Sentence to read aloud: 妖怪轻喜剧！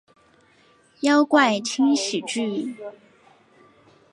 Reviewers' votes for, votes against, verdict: 4, 0, accepted